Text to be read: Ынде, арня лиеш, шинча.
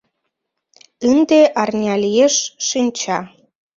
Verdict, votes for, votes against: rejected, 0, 2